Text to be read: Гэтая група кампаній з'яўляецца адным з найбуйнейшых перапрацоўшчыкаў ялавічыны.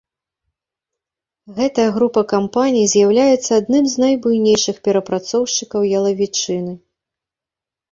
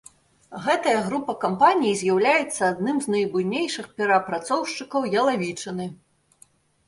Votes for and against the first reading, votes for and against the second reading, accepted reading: 1, 2, 3, 2, second